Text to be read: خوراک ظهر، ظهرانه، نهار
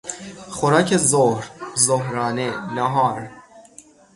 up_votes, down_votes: 3, 0